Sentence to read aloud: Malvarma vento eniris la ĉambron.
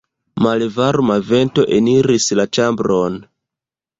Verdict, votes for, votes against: accepted, 2, 0